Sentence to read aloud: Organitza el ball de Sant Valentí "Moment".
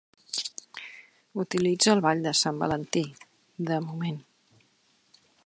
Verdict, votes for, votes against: rejected, 0, 3